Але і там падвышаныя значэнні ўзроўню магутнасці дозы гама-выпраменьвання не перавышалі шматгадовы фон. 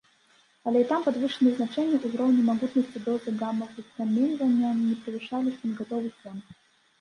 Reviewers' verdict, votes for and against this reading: rejected, 0, 2